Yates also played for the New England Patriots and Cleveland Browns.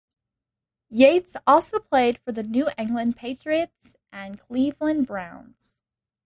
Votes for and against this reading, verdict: 2, 0, accepted